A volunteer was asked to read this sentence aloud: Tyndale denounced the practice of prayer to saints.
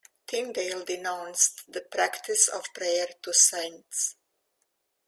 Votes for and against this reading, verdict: 2, 0, accepted